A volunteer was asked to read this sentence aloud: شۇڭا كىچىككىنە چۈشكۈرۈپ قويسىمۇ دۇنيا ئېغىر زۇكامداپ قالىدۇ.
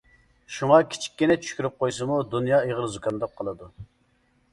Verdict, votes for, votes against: accepted, 2, 0